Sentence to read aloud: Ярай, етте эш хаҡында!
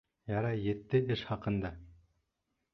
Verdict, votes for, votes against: accepted, 2, 0